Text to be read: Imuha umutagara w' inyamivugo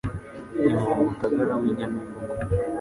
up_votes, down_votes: 3, 4